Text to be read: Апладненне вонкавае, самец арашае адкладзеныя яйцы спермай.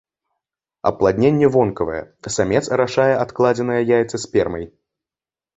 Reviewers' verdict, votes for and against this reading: accepted, 2, 0